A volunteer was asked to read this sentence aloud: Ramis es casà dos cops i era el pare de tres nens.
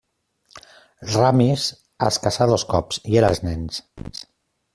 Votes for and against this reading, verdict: 0, 2, rejected